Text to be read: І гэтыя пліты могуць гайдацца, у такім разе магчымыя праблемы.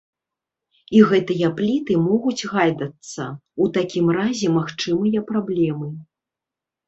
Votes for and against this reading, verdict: 1, 2, rejected